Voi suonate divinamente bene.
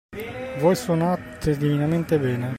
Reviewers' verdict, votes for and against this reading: accepted, 2, 0